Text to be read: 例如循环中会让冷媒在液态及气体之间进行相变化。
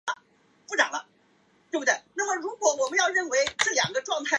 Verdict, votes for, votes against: rejected, 0, 2